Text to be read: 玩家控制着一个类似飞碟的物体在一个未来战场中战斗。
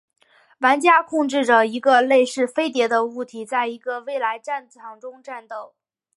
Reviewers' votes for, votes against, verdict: 3, 0, accepted